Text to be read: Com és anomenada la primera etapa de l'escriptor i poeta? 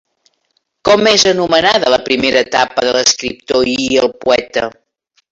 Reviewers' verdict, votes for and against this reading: rejected, 0, 2